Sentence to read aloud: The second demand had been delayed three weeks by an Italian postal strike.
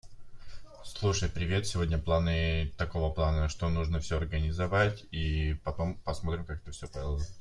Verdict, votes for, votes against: rejected, 0, 2